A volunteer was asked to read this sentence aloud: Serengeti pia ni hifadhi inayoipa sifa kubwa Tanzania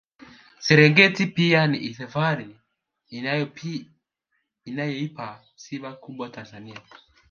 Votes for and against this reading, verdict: 2, 1, accepted